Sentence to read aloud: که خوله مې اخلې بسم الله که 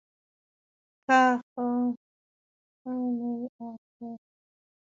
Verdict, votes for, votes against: rejected, 2, 3